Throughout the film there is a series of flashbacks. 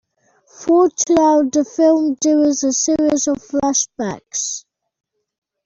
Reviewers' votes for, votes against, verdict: 0, 2, rejected